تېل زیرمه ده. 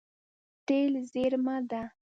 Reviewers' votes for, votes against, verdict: 2, 1, accepted